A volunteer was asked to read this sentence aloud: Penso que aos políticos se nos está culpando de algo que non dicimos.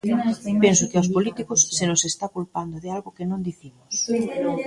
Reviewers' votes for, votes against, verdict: 1, 2, rejected